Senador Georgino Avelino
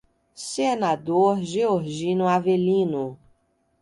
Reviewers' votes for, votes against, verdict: 2, 0, accepted